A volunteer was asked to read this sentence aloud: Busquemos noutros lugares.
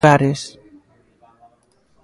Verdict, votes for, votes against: rejected, 0, 2